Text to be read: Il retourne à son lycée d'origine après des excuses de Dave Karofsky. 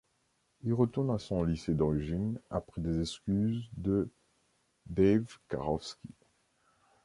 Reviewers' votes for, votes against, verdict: 2, 0, accepted